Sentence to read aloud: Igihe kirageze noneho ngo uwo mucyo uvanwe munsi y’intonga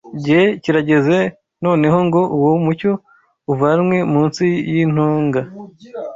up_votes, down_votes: 1, 2